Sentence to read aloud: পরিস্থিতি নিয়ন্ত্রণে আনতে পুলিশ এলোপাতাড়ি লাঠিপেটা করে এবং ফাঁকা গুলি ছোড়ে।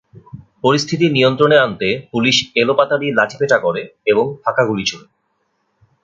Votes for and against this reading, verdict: 2, 0, accepted